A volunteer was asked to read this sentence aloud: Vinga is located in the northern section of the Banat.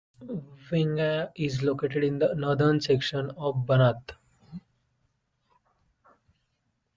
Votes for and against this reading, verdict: 1, 2, rejected